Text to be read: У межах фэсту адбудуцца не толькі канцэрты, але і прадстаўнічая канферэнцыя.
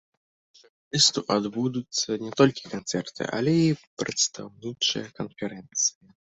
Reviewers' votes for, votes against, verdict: 0, 2, rejected